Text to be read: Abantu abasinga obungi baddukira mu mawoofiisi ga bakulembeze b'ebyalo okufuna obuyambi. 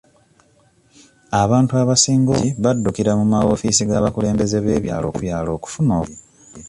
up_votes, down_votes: 0, 2